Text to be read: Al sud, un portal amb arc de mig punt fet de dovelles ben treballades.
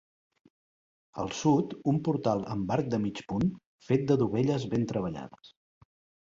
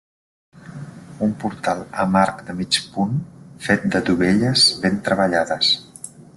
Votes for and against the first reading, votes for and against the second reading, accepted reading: 3, 0, 1, 2, first